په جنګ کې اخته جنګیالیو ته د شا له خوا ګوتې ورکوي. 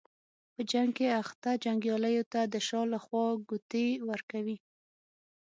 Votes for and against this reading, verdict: 6, 0, accepted